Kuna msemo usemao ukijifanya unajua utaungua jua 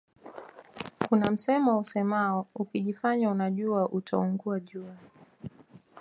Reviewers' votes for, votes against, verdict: 2, 1, accepted